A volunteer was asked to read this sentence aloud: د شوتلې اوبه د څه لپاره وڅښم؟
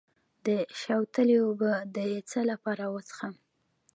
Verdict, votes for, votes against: rejected, 1, 2